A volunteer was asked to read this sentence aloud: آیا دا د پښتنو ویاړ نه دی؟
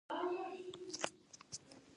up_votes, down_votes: 2, 4